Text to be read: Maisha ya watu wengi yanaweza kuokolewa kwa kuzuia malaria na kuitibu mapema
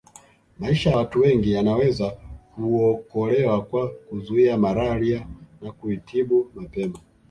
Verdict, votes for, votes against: rejected, 1, 2